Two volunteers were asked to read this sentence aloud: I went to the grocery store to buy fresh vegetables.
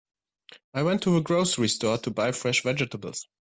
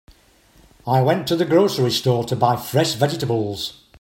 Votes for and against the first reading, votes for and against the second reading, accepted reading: 3, 4, 3, 0, second